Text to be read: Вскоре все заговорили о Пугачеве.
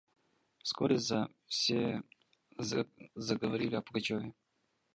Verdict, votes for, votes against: rejected, 1, 2